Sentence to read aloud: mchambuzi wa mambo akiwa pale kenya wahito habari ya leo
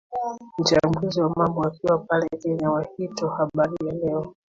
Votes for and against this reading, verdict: 1, 2, rejected